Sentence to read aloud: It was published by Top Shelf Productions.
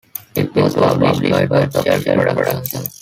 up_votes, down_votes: 1, 2